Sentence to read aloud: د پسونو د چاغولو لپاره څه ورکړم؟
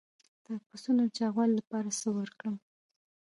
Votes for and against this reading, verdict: 0, 2, rejected